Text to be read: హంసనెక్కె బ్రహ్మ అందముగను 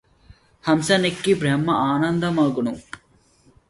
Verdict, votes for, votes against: rejected, 0, 2